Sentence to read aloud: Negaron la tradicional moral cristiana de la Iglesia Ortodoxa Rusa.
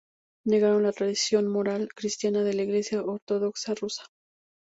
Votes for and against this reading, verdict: 0, 2, rejected